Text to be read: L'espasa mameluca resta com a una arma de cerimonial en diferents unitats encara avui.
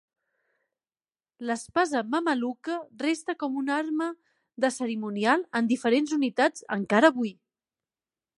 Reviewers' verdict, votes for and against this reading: accepted, 2, 0